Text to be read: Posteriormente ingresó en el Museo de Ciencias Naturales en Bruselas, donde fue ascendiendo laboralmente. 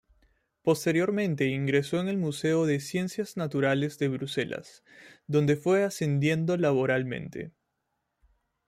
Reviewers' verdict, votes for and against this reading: rejected, 0, 2